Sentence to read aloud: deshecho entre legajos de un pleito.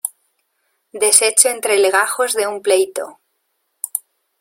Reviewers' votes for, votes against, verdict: 2, 0, accepted